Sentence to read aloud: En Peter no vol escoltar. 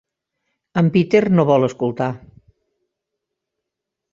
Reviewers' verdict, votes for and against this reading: accepted, 6, 0